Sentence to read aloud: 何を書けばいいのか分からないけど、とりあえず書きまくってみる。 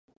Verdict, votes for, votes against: rejected, 0, 2